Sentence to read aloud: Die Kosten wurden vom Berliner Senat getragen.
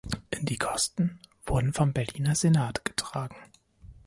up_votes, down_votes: 0, 2